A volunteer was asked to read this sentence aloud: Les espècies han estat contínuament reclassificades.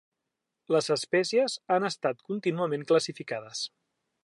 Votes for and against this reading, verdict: 0, 2, rejected